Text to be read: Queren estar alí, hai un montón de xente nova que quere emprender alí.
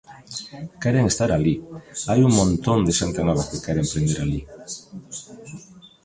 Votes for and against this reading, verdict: 2, 1, accepted